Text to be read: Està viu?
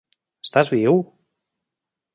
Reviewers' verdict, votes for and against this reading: rejected, 0, 2